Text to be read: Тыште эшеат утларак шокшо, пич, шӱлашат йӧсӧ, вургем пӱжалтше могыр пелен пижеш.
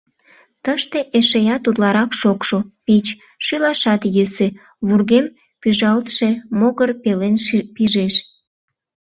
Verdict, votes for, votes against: rejected, 1, 2